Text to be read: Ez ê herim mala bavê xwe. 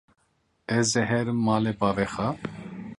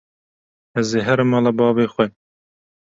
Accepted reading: second